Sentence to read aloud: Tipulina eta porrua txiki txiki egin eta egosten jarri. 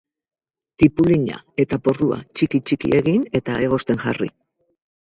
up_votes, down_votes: 0, 2